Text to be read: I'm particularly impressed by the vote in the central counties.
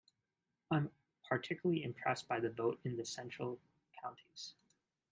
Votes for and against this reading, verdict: 1, 2, rejected